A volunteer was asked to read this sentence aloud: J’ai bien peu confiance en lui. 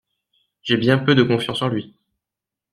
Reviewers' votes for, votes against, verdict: 0, 2, rejected